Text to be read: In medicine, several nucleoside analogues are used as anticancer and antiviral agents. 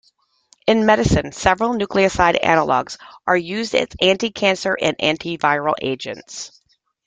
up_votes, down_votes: 3, 0